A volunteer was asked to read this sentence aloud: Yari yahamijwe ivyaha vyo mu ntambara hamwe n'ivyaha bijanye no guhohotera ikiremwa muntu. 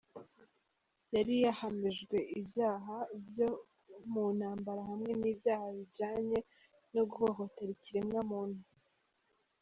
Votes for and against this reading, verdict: 2, 0, accepted